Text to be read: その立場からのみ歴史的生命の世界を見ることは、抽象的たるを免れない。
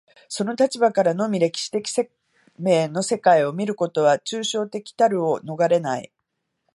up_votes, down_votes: 1, 2